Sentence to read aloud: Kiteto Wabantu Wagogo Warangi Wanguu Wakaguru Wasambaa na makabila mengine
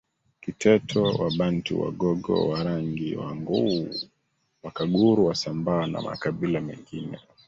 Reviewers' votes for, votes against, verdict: 0, 2, rejected